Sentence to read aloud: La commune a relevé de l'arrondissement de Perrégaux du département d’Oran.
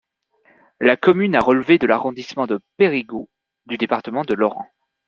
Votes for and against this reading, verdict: 1, 2, rejected